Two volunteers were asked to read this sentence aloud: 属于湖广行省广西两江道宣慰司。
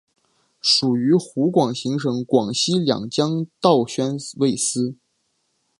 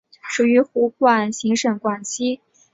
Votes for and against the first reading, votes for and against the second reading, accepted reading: 3, 0, 1, 5, first